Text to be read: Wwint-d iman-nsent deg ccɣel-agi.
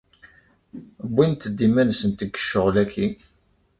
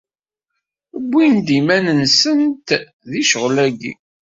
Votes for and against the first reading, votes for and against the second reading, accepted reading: 2, 0, 1, 2, first